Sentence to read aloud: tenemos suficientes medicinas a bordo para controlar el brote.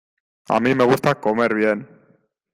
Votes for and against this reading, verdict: 0, 2, rejected